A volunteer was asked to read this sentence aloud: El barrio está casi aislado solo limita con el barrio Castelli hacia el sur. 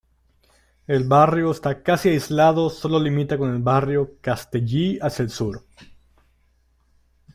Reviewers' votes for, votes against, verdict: 1, 2, rejected